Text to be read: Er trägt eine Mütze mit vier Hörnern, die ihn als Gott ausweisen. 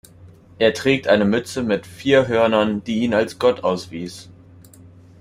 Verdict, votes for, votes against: rejected, 1, 2